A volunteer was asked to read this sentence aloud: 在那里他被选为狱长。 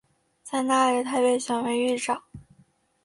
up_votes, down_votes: 3, 0